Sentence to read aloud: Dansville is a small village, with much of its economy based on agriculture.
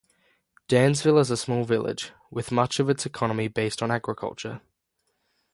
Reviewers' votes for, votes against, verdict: 3, 0, accepted